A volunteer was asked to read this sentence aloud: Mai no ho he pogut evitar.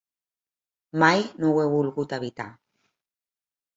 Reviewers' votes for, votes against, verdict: 0, 2, rejected